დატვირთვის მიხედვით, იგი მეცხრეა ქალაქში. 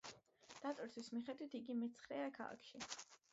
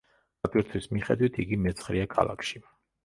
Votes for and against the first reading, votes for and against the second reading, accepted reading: 2, 0, 1, 2, first